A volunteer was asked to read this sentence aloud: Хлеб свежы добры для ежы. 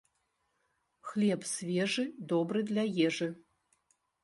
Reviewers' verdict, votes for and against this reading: rejected, 1, 2